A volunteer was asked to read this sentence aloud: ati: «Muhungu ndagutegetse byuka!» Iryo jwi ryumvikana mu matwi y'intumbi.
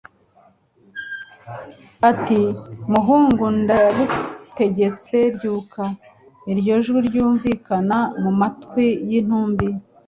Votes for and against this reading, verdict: 2, 0, accepted